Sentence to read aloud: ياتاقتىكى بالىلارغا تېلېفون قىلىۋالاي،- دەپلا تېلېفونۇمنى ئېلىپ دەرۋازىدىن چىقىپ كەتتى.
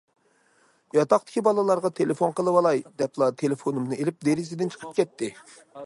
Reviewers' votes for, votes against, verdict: 0, 2, rejected